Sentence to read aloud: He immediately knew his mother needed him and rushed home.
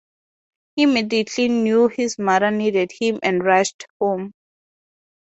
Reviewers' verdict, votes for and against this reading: accepted, 2, 0